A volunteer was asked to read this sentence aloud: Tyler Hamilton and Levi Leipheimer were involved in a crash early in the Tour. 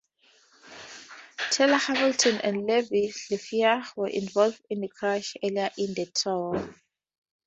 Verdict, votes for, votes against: accepted, 4, 2